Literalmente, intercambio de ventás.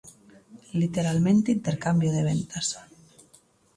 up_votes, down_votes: 0, 2